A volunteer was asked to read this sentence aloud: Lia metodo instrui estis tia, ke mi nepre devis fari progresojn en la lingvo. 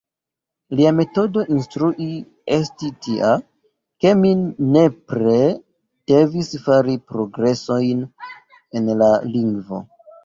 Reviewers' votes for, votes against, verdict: 2, 3, rejected